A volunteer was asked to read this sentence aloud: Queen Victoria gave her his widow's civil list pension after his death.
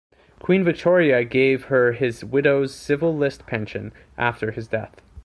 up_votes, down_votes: 2, 0